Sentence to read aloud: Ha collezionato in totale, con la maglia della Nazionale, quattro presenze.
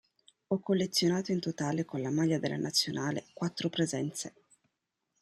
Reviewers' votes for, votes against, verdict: 0, 2, rejected